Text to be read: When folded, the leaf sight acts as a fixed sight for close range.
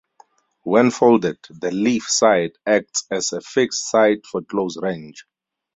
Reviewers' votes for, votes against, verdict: 2, 2, rejected